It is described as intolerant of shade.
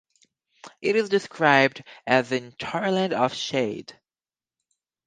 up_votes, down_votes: 2, 0